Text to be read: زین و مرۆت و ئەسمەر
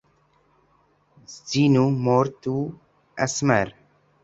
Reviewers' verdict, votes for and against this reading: rejected, 0, 2